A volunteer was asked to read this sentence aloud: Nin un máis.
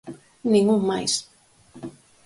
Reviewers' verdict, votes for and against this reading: accepted, 4, 0